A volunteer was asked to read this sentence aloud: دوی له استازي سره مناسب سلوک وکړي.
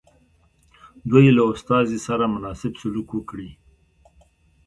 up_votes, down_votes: 2, 1